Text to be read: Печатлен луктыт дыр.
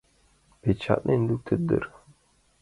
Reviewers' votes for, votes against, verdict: 2, 0, accepted